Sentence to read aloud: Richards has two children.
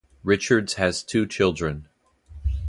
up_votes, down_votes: 0, 2